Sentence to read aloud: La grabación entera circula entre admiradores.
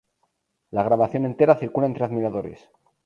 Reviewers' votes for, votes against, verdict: 0, 2, rejected